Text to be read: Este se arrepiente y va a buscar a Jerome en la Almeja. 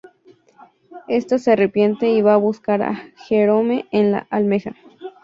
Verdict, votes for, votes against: accepted, 2, 0